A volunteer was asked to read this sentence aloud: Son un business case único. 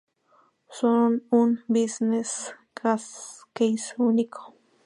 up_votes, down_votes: 2, 0